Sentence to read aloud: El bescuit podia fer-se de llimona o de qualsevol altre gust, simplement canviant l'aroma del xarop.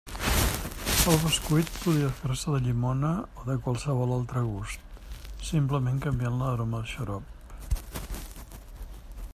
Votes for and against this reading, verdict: 2, 0, accepted